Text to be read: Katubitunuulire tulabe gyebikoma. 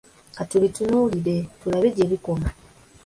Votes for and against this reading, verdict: 2, 0, accepted